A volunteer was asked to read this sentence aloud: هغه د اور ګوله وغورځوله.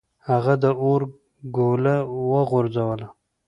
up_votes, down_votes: 2, 0